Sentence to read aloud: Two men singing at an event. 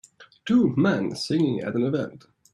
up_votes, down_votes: 2, 1